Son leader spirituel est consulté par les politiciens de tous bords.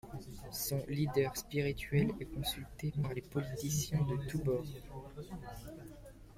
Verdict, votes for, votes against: accepted, 2, 0